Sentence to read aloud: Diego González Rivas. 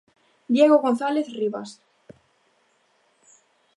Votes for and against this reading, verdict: 2, 0, accepted